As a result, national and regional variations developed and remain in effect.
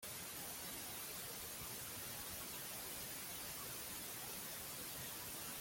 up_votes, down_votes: 0, 2